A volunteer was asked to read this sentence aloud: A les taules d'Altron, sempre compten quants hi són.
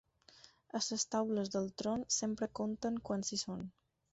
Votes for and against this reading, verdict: 0, 4, rejected